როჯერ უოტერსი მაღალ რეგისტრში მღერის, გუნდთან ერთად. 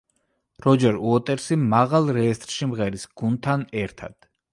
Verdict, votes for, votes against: rejected, 1, 2